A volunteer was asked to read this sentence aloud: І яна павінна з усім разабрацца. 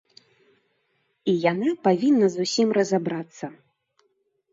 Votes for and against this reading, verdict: 1, 2, rejected